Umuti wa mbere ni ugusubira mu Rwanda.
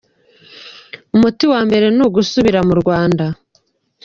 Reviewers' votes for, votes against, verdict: 3, 1, accepted